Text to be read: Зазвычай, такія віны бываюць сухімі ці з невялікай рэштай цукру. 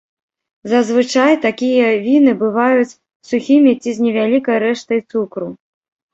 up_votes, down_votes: 0, 2